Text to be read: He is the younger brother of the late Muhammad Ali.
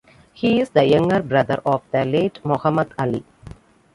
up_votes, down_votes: 0, 2